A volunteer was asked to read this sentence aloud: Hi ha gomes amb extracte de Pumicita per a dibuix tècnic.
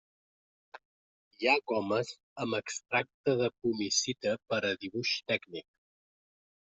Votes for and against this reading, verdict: 1, 2, rejected